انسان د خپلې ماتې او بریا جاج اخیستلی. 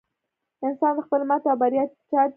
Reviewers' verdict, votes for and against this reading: rejected, 1, 2